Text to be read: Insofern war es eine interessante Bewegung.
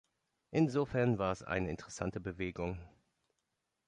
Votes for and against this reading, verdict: 2, 3, rejected